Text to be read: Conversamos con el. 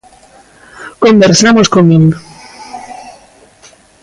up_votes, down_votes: 1, 2